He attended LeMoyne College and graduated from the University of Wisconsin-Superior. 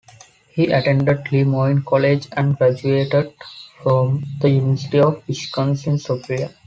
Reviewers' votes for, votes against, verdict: 1, 3, rejected